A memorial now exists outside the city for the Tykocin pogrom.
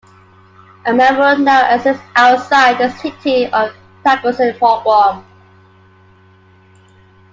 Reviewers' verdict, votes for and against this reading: accepted, 2, 1